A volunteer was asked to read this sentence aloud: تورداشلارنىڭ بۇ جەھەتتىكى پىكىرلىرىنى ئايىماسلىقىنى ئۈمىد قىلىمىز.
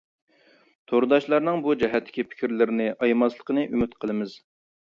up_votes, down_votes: 3, 0